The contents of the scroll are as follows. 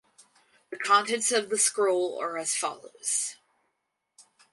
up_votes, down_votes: 4, 0